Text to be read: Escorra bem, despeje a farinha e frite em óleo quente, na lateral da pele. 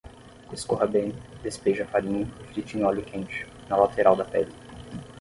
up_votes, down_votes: 6, 0